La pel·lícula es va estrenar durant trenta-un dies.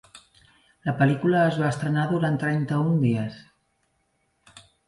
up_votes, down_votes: 2, 1